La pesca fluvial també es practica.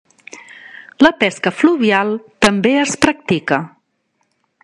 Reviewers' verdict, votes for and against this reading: accepted, 3, 0